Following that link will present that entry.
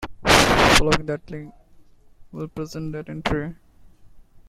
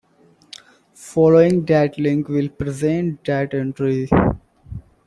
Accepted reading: second